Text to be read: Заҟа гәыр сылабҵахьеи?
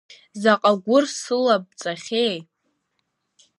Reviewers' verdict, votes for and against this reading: accepted, 2, 0